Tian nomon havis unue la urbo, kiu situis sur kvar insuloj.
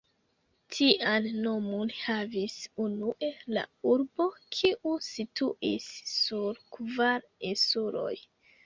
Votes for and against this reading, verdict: 3, 2, accepted